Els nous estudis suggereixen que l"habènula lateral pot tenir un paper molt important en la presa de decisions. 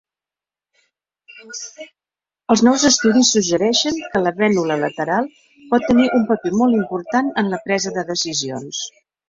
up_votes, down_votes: 4, 3